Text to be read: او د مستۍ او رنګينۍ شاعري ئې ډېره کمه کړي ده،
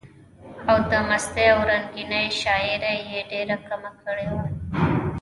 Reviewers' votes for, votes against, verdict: 1, 2, rejected